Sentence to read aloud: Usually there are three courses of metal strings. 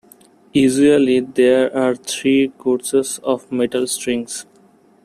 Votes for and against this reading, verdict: 1, 2, rejected